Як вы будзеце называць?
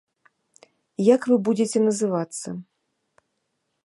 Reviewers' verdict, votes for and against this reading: rejected, 0, 2